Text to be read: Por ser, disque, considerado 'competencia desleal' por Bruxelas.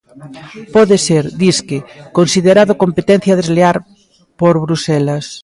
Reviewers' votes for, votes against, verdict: 0, 2, rejected